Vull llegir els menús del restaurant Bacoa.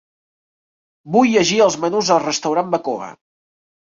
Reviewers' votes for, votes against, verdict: 0, 3, rejected